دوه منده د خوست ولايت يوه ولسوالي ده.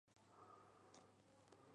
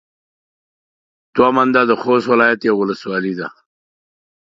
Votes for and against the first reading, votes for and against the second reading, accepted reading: 1, 2, 2, 0, second